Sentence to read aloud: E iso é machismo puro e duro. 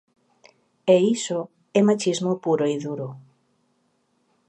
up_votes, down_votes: 2, 1